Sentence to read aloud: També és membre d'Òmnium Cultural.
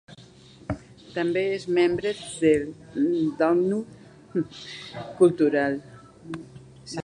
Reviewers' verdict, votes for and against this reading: rejected, 1, 2